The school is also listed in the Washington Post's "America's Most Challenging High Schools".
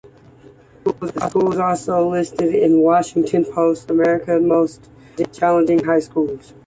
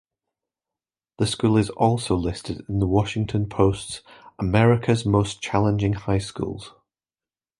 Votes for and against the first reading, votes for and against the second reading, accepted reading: 0, 2, 2, 0, second